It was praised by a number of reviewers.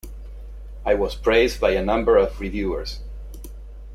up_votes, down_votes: 1, 2